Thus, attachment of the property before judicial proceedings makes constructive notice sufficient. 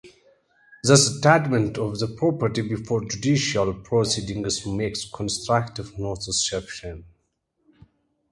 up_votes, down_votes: 0, 2